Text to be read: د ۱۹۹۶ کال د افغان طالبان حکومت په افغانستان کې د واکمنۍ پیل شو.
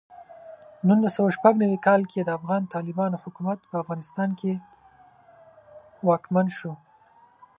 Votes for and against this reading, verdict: 0, 2, rejected